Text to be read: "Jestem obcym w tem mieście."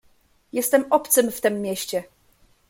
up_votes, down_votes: 2, 0